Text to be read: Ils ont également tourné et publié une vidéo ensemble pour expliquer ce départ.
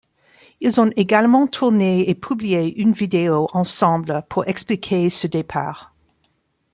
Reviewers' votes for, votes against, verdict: 2, 1, accepted